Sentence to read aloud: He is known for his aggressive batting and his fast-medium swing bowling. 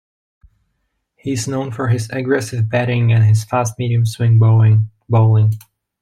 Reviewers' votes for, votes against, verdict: 1, 2, rejected